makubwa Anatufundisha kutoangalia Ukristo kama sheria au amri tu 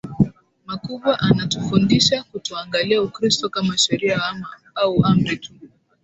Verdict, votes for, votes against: accepted, 6, 1